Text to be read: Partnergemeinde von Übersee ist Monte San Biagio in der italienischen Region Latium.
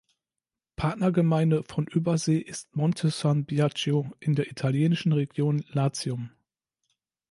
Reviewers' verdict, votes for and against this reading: accepted, 2, 0